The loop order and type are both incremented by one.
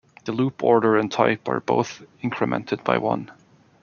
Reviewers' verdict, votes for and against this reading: accepted, 2, 0